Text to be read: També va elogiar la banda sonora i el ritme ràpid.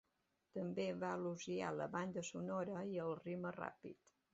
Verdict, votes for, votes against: accepted, 2, 0